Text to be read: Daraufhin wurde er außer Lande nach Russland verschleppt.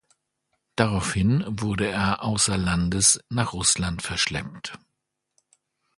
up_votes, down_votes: 1, 3